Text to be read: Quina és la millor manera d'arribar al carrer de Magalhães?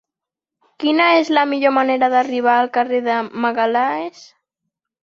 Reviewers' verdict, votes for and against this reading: rejected, 0, 2